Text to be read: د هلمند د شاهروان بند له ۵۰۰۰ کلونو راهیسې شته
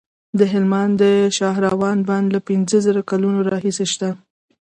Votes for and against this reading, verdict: 0, 2, rejected